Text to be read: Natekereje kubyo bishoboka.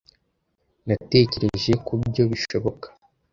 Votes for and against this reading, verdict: 2, 0, accepted